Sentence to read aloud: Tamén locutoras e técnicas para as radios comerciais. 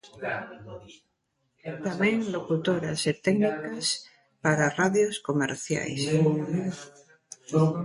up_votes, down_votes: 1, 2